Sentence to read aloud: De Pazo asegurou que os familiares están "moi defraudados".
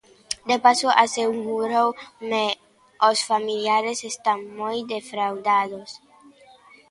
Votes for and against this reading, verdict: 0, 2, rejected